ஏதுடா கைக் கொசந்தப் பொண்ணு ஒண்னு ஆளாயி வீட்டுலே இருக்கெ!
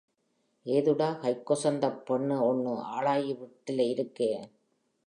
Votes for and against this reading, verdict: 2, 0, accepted